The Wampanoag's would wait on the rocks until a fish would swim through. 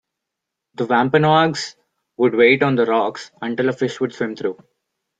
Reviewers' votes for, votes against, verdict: 2, 1, accepted